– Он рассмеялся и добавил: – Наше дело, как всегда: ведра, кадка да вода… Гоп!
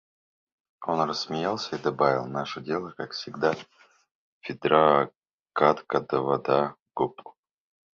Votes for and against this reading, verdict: 1, 2, rejected